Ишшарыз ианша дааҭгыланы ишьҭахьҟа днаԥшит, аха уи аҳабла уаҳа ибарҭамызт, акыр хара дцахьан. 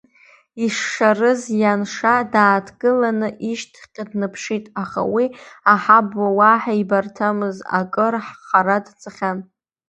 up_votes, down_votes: 1, 2